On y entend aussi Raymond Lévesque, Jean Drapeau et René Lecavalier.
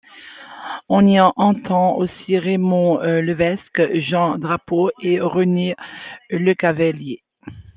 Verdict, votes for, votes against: rejected, 0, 2